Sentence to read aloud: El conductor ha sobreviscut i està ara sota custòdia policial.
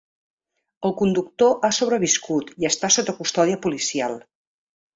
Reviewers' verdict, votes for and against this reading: rejected, 1, 2